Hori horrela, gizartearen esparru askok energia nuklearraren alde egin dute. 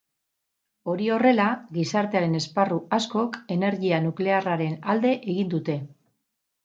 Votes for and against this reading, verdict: 4, 0, accepted